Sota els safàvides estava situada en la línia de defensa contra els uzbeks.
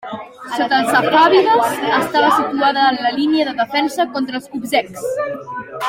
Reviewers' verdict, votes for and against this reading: rejected, 0, 2